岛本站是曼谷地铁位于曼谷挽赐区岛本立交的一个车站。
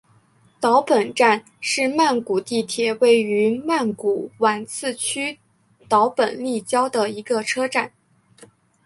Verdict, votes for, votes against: rejected, 1, 2